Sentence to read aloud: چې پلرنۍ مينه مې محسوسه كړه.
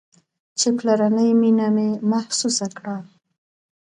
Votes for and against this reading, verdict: 1, 2, rejected